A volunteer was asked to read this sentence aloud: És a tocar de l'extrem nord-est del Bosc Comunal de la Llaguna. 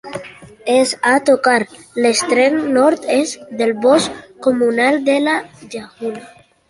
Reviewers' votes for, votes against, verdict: 1, 2, rejected